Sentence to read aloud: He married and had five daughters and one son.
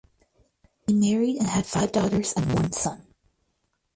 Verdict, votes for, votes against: rejected, 2, 4